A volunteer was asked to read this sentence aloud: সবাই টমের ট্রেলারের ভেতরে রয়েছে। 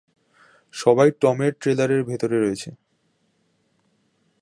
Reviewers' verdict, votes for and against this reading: accepted, 2, 0